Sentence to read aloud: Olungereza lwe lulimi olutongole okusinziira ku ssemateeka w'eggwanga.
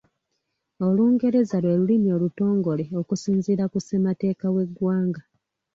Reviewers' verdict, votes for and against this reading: accepted, 2, 0